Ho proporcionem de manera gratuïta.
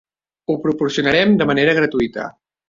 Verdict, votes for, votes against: rejected, 1, 3